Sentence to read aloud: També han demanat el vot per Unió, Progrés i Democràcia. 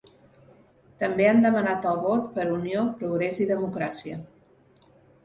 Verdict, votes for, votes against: accepted, 2, 0